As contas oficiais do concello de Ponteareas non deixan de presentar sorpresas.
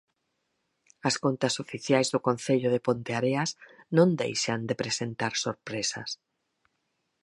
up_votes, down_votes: 4, 0